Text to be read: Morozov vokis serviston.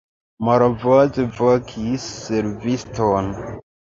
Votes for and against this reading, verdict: 1, 2, rejected